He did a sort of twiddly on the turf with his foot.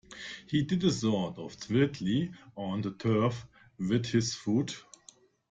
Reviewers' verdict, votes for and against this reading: rejected, 1, 2